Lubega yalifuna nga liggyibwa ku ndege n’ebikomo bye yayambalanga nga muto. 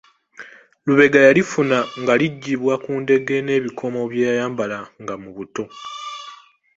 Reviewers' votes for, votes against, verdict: 1, 3, rejected